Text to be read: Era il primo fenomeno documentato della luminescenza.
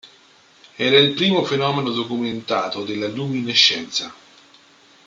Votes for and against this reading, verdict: 3, 0, accepted